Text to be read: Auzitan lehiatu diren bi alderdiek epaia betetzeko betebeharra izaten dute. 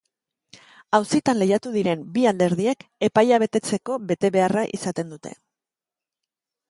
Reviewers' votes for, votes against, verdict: 4, 0, accepted